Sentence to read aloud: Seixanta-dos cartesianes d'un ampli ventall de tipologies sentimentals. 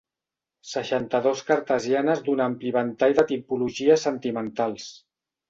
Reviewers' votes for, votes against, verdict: 3, 0, accepted